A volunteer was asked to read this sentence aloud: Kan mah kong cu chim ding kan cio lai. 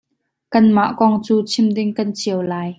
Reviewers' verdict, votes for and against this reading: accepted, 2, 0